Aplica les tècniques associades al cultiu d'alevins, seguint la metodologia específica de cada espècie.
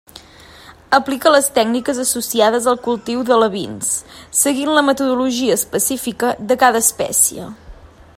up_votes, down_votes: 2, 0